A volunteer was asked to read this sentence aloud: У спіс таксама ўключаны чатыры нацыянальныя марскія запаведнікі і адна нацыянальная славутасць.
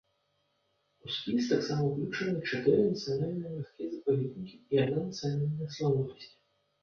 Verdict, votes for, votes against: rejected, 0, 2